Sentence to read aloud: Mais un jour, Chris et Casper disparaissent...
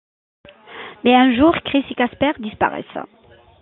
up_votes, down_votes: 2, 0